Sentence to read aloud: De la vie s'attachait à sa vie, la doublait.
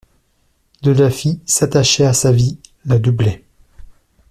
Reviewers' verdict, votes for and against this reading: rejected, 0, 2